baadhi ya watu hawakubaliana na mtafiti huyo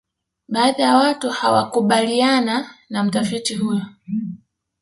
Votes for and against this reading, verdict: 0, 2, rejected